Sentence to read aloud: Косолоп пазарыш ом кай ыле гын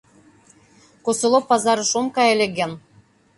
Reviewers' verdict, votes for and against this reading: accepted, 2, 1